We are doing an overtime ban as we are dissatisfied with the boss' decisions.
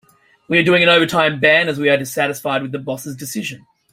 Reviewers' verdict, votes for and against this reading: accepted, 2, 1